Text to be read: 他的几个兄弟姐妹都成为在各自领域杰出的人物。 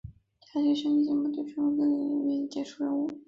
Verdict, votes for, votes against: rejected, 1, 2